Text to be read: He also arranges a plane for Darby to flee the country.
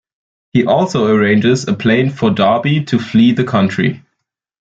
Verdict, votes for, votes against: accepted, 2, 0